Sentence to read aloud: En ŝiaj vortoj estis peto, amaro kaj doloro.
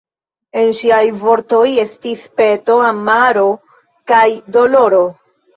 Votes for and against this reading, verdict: 2, 0, accepted